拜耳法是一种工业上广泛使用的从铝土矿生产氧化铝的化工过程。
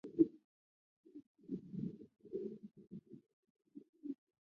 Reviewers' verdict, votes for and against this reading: rejected, 0, 2